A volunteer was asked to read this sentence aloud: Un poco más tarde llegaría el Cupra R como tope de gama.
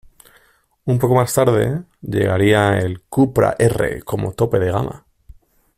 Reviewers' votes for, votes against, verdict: 2, 1, accepted